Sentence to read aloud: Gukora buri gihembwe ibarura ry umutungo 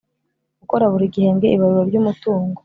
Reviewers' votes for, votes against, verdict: 2, 0, accepted